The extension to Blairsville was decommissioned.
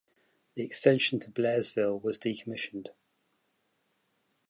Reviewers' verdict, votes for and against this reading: accepted, 2, 0